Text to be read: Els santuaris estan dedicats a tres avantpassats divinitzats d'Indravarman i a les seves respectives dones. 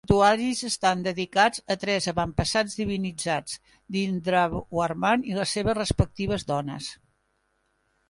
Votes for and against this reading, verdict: 0, 2, rejected